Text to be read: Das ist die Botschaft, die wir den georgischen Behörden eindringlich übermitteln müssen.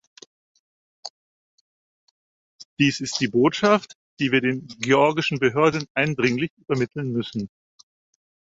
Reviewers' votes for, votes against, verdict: 0, 4, rejected